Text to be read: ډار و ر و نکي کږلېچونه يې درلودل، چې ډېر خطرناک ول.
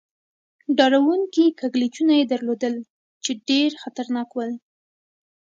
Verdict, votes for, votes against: accepted, 2, 0